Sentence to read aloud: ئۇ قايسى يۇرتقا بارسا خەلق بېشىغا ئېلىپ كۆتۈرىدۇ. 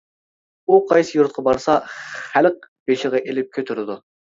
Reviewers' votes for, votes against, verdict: 2, 0, accepted